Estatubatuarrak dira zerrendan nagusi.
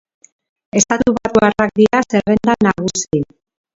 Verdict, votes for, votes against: rejected, 1, 2